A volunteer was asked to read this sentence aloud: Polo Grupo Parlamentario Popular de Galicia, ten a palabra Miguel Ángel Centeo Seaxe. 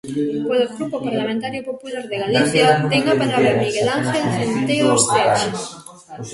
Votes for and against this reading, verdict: 2, 0, accepted